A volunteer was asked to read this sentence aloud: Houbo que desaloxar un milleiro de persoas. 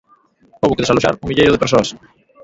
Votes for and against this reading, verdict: 2, 0, accepted